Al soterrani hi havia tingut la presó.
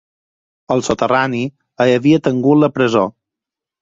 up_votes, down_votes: 4, 0